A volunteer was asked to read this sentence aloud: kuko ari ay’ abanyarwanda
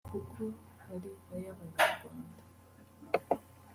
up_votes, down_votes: 1, 2